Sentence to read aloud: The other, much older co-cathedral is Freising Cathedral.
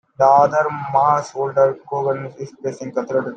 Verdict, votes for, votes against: rejected, 0, 2